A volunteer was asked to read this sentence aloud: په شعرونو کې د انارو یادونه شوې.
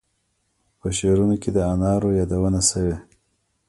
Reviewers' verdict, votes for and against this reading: rejected, 0, 2